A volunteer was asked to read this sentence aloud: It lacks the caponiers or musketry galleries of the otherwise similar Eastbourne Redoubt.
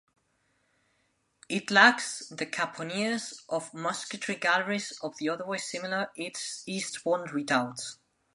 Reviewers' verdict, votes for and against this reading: rejected, 0, 2